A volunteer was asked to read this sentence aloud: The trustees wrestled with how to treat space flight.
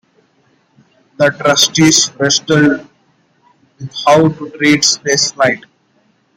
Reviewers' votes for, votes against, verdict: 1, 2, rejected